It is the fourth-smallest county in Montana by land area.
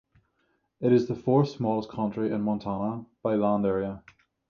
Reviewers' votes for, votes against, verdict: 3, 3, rejected